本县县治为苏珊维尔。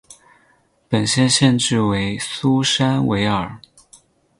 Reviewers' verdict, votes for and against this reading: accepted, 10, 0